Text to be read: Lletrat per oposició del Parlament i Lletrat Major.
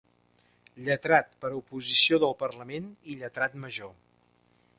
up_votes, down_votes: 2, 0